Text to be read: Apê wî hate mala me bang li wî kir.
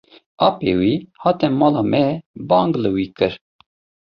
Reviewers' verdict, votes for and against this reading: accepted, 2, 0